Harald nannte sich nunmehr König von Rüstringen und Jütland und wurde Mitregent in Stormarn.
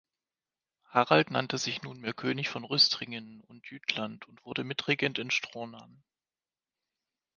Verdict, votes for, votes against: rejected, 0, 2